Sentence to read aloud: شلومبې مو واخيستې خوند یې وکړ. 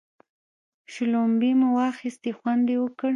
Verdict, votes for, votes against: accepted, 2, 0